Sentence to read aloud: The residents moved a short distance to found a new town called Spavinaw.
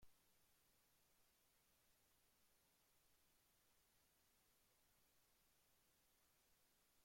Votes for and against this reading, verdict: 0, 2, rejected